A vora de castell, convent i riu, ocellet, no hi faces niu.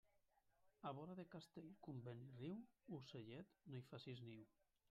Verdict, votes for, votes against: rejected, 0, 2